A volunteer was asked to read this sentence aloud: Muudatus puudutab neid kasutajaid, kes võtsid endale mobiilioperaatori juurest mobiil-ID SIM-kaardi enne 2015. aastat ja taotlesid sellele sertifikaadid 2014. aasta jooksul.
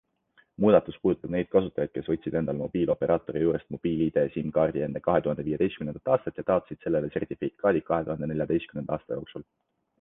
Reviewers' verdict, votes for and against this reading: rejected, 0, 2